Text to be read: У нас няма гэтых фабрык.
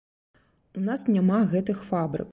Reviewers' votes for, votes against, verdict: 2, 0, accepted